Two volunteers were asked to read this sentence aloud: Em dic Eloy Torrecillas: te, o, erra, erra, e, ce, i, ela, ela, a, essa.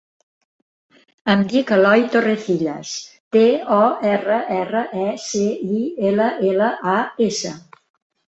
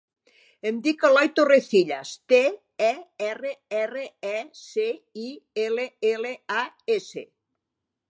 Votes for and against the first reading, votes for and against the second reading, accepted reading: 3, 0, 0, 3, first